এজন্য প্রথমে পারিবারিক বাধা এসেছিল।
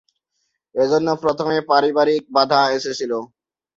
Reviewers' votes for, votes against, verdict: 0, 2, rejected